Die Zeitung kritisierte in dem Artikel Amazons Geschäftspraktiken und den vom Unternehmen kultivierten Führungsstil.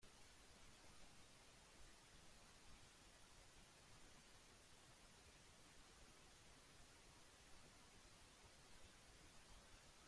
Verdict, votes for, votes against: rejected, 0, 2